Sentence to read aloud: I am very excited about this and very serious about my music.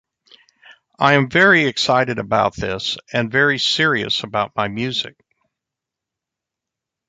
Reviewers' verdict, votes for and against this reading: accepted, 2, 0